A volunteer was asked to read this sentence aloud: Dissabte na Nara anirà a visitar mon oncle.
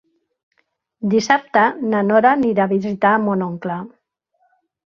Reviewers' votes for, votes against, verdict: 1, 2, rejected